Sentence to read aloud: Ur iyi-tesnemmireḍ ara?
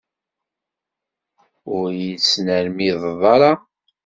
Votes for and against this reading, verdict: 1, 2, rejected